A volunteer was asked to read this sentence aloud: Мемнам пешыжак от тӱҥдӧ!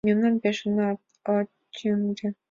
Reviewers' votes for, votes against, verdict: 0, 5, rejected